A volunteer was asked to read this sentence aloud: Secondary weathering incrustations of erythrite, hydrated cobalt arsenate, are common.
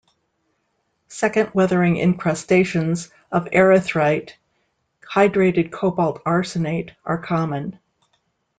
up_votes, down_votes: 1, 2